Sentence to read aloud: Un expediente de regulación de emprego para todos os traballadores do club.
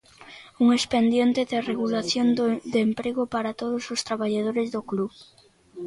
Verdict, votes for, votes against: rejected, 0, 3